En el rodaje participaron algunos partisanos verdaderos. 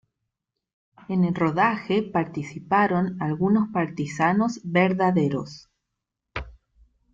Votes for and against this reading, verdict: 2, 0, accepted